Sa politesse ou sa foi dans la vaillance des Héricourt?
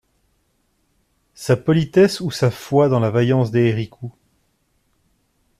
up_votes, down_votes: 1, 2